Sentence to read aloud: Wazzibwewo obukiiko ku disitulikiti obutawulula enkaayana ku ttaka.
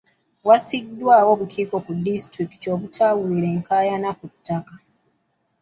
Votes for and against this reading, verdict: 0, 2, rejected